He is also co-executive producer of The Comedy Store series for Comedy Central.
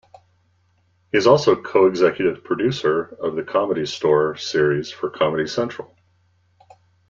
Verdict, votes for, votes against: accepted, 2, 0